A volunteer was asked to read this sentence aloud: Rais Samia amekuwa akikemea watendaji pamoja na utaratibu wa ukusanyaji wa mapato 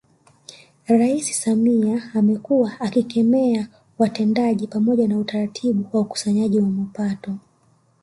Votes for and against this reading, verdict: 2, 0, accepted